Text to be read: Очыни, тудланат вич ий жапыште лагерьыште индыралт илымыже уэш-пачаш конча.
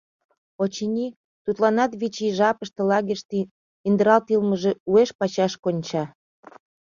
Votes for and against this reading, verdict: 2, 0, accepted